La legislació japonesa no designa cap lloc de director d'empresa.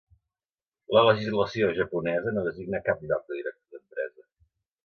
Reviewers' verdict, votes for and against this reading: rejected, 1, 2